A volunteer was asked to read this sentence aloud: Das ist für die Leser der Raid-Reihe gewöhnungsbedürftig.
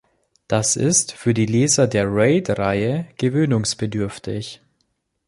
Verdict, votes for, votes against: accepted, 2, 0